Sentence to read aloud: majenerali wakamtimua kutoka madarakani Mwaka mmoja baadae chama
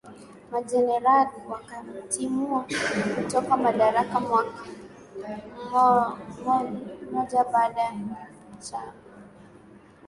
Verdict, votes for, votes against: rejected, 0, 2